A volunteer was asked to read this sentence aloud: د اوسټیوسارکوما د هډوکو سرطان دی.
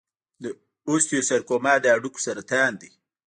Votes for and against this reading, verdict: 0, 2, rejected